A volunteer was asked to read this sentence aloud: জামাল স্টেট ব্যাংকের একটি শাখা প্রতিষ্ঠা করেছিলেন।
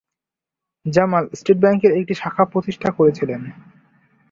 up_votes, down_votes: 3, 0